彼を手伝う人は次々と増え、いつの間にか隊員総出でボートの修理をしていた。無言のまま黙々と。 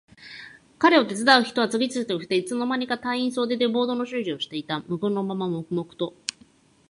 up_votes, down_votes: 1, 2